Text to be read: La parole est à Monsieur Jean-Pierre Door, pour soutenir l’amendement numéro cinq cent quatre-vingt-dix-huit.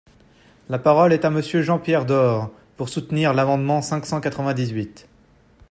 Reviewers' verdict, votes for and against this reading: rejected, 0, 2